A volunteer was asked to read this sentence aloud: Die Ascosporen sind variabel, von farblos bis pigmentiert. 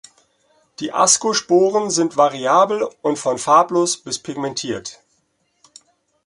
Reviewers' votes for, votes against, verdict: 0, 2, rejected